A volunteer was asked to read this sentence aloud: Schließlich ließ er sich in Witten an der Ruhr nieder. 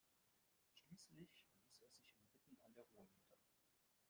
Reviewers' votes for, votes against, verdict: 0, 3, rejected